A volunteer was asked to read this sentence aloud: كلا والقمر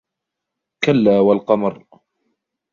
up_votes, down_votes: 2, 1